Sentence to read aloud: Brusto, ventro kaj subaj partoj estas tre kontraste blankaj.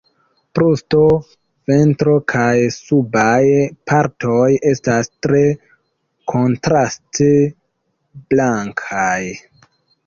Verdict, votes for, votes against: accepted, 2, 0